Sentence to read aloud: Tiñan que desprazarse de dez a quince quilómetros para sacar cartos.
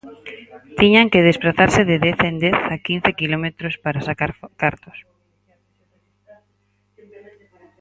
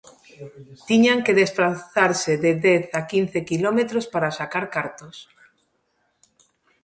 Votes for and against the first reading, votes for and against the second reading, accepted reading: 0, 4, 2, 0, second